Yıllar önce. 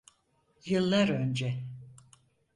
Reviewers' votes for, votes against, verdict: 4, 0, accepted